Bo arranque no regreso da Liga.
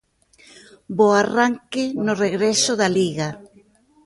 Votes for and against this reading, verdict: 2, 0, accepted